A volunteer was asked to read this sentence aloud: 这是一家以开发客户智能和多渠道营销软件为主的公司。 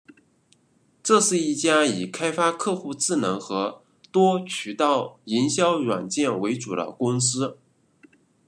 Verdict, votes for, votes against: rejected, 1, 2